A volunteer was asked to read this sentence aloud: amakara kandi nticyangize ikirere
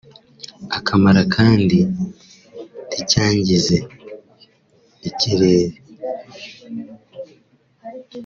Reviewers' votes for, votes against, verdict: 1, 2, rejected